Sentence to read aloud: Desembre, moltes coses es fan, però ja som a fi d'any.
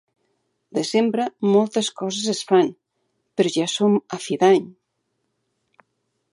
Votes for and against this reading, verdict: 2, 0, accepted